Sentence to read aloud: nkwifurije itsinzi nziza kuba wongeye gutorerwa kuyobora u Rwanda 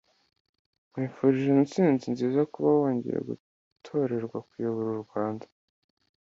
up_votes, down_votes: 2, 0